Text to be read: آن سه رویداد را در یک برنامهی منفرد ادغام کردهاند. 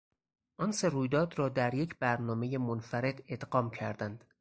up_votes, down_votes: 2, 4